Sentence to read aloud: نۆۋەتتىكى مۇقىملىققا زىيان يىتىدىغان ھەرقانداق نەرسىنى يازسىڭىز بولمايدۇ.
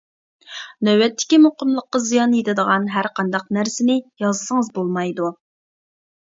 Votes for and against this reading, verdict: 2, 0, accepted